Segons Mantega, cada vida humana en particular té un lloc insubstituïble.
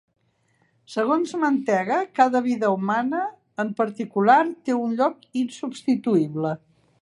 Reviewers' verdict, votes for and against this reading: accepted, 3, 0